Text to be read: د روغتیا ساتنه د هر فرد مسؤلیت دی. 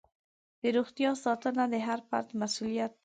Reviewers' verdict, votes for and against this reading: rejected, 1, 2